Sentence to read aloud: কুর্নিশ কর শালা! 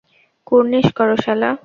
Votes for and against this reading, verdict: 0, 2, rejected